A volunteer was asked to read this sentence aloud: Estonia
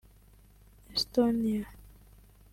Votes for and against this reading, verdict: 0, 2, rejected